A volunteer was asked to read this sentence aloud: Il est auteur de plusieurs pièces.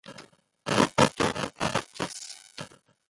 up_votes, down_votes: 0, 2